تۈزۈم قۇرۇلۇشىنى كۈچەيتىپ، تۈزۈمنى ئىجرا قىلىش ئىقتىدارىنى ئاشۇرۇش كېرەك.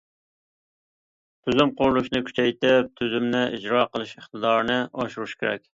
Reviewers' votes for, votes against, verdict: 2, 0, accepted